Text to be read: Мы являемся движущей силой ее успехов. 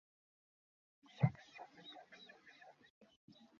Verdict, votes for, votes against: rejected, 1, 2